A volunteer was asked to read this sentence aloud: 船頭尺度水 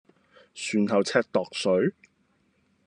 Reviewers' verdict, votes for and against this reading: rejected, 1, 2